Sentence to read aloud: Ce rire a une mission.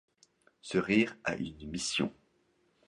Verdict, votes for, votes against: accepted, 2, 0